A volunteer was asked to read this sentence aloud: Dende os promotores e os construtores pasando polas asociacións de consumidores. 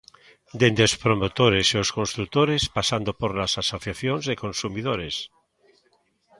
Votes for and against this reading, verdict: 1, 2, rejected